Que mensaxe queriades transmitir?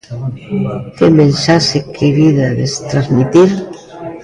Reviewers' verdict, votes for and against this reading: rejected, 0, 2